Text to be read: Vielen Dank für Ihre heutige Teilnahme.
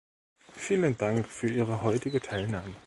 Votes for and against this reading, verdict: 2, 0, accepted